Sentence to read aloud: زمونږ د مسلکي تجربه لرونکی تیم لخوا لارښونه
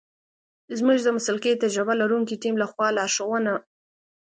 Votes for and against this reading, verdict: 2, 0, accepted